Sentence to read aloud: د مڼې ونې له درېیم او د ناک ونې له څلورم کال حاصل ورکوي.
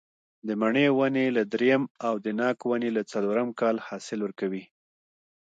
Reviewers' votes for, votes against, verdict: 2, 1, accepted